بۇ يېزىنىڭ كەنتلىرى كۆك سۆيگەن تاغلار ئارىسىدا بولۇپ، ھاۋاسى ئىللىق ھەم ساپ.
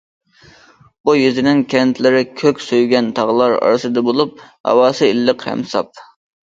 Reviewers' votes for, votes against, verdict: 2, 0, accepted